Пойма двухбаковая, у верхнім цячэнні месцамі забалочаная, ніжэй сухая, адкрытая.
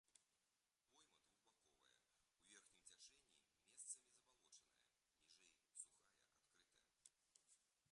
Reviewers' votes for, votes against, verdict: 0, 2, rejected